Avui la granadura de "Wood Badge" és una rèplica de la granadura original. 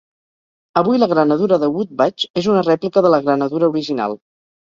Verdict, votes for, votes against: accepted, 4, 0